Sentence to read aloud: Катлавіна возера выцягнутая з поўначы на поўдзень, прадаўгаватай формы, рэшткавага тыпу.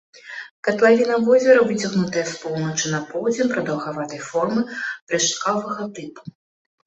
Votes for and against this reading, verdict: 2, 1, accepted